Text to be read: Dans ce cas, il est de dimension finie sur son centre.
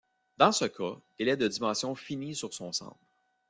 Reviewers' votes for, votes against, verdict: 0, 2, rejected